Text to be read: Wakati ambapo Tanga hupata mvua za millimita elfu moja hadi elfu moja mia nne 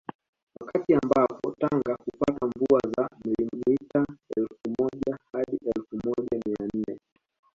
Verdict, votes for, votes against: rejected, 1, 2